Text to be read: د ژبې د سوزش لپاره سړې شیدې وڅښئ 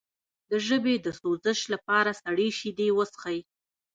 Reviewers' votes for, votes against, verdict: 1, 2, rejected